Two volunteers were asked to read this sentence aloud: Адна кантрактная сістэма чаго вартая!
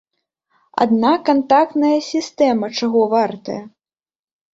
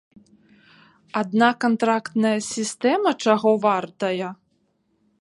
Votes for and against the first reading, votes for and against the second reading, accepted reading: 0, 2, 2, 0, second